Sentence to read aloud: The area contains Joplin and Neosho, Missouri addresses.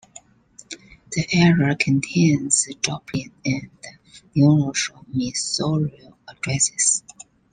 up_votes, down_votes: 0, 2